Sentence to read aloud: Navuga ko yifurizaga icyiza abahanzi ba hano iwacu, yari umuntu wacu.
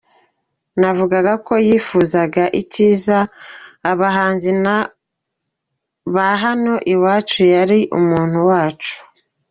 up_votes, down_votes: 0, 2